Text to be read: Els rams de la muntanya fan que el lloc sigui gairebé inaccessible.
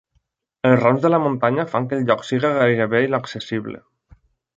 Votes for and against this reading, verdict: 2, 0, accepted